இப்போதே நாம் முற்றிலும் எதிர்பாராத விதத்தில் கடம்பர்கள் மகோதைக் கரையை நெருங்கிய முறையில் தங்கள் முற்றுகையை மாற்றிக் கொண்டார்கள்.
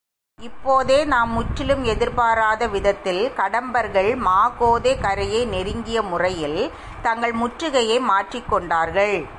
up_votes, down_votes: 1, 2